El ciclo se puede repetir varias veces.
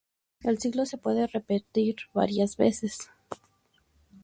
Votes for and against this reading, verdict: 2, 0, accepted